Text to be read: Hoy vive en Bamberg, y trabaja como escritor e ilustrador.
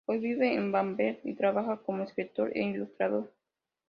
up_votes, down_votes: 2, 0